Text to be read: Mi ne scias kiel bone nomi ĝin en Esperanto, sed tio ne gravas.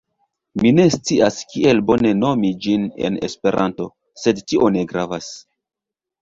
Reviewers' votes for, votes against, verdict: 1, 2, rejected